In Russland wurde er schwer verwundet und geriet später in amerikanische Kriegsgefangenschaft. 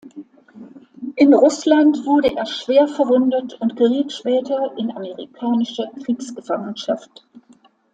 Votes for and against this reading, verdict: 2, 0, accepted